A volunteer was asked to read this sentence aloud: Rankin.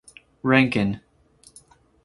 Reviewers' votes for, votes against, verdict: 4, 0, accepted